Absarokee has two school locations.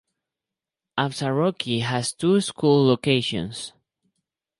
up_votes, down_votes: 2, 2